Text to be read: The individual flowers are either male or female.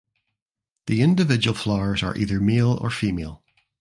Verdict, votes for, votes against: accepted, 2, 0